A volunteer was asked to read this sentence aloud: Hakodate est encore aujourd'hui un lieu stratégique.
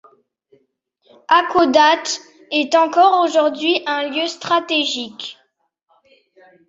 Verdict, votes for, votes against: accepted, 2, 0